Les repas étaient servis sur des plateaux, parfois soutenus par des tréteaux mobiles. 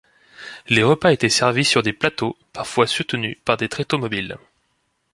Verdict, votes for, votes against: accepted, 2, 0